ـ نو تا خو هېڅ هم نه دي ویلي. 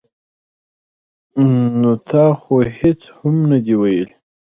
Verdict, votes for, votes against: accepted, 2, 0